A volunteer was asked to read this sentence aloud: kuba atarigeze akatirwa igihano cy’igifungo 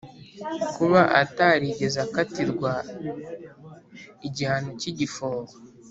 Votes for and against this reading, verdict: 4, 0, accepted